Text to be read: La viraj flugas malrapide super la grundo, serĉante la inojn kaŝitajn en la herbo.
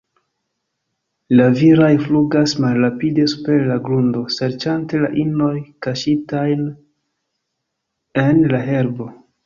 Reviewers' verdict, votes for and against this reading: accepted, 2, 1